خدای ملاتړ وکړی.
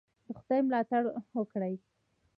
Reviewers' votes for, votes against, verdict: 0, 2, rejected